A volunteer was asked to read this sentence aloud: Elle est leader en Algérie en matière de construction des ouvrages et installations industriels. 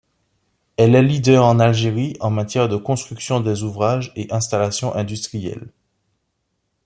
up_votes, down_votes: 2, 0